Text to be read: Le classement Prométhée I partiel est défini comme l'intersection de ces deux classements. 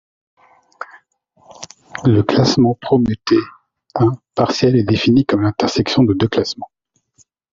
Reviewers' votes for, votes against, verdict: 1, 2, rejected